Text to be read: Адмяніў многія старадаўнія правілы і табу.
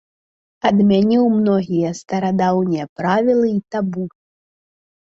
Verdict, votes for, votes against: accepted, 3, 1